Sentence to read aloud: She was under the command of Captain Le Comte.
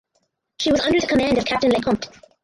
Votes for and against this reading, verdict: 0, 4, rejected